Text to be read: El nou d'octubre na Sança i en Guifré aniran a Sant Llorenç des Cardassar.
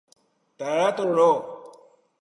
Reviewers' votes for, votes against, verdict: 0, 2, rejected